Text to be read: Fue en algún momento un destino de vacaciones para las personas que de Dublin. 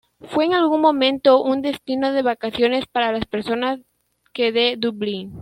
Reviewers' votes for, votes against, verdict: 2, 1, accepted